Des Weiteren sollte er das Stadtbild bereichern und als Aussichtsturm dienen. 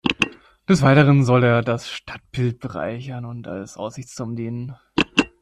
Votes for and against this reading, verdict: 1, 2, rejected